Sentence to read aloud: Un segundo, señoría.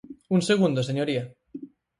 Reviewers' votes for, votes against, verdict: 4, 0, accepted